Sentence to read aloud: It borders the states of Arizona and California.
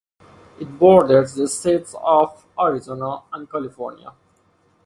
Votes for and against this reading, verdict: 2, 0, accepted